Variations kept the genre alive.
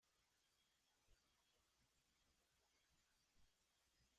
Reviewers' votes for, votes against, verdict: 0, 2, rejected